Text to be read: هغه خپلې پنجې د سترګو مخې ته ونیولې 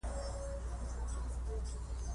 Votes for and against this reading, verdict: 0, 2, rejected